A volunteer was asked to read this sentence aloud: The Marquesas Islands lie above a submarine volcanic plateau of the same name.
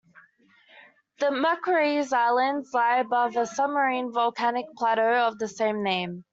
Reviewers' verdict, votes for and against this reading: rejected, 1, 2